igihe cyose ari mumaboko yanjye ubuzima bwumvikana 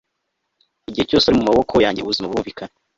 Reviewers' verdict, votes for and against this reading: accepted, 2, 0